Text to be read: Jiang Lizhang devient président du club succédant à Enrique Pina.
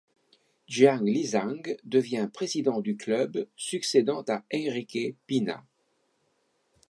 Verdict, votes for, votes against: accepted, 2, 0